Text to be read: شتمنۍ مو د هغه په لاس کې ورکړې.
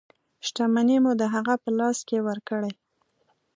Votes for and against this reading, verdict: 2, 1, accepted